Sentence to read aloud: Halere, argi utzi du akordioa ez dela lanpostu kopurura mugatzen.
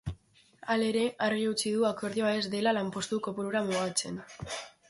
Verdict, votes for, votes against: accepted, 2, 0